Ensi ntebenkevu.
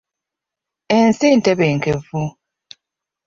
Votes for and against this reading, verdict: 2, 1, accepted